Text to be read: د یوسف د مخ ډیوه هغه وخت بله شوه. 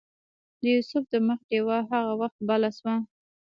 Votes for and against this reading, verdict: 0, 2, rejected